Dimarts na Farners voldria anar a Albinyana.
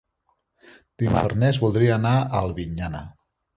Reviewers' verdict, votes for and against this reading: rejected, 0, 2